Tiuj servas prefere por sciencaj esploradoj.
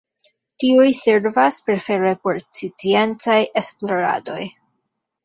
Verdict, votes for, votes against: rejected, 1, 2